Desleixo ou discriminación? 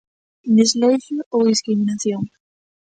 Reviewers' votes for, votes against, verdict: 1, 2, rejected